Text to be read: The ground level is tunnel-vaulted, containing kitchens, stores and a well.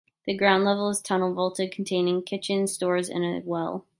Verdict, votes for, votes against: rejected, 1, 2